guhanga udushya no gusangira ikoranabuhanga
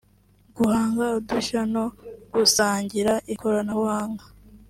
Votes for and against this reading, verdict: 1, 2, rejected